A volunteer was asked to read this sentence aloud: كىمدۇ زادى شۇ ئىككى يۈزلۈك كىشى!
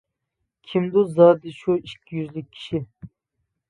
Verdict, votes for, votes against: accepted, 3, 0